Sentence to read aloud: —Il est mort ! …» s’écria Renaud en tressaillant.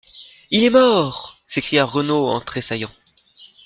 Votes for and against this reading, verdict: 2, 0, accepted